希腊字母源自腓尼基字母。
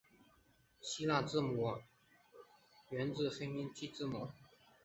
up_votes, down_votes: 0, 3